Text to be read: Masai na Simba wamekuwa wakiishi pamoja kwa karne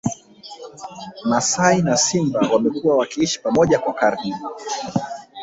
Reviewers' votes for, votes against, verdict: 2, 3, rejected